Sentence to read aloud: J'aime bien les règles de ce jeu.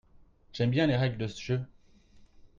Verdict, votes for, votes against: rejected, 0, 2